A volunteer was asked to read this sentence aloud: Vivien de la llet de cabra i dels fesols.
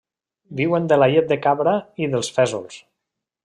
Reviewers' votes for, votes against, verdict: 1, 2, rejected